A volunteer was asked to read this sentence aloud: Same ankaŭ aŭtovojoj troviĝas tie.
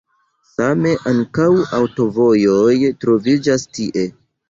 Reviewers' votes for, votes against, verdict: 1, 2, rejected